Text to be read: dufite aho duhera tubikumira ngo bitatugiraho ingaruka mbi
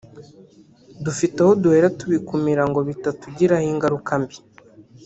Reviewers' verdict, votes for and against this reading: rejected, 0, 2